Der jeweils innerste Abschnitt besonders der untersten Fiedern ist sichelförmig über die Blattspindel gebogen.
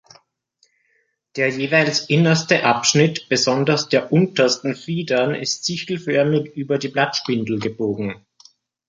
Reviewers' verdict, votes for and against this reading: accepted, 2, 0